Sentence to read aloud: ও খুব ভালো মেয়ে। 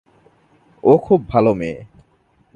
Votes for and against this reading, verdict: 2, 0, accepted